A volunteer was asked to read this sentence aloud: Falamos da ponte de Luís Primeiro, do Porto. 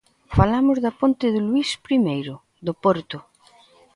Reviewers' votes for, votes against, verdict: 3, 0, accepted